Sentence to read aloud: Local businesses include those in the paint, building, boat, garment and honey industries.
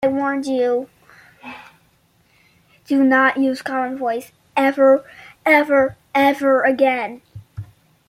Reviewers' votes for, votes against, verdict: 0, 2, rejected